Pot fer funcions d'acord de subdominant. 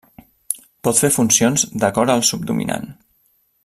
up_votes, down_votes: 1, 2